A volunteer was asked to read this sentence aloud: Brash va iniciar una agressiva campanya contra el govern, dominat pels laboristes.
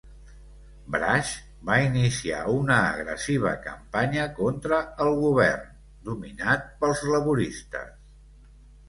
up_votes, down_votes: 2, 0